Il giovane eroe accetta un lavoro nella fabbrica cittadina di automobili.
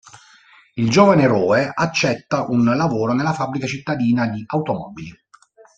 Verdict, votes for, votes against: rejected, 1, 2